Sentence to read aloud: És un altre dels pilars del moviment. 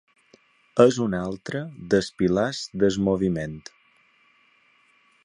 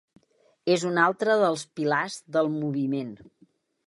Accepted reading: second